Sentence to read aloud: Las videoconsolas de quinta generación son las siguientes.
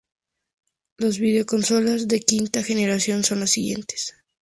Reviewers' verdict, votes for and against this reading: accepted, 2, 0